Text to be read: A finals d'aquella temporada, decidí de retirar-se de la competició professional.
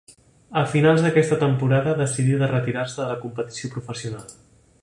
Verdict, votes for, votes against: rejected, 1, 2